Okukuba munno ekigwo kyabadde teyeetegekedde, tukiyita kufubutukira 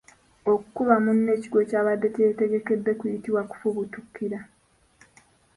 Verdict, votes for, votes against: rejected, 0, 2